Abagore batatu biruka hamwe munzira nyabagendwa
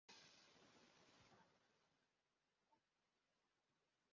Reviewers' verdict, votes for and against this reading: rejected, 0, 2